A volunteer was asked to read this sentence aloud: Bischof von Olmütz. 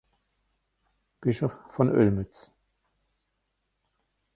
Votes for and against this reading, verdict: 0, 2, rejected